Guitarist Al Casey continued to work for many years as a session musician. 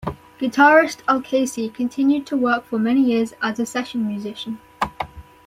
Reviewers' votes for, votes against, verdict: 2, 0, accepted